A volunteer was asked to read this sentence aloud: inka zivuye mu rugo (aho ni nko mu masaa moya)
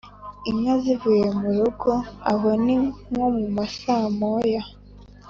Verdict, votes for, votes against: accepted, 3, 0